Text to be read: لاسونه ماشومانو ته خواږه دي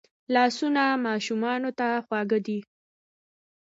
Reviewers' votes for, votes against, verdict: 2, 0, accepted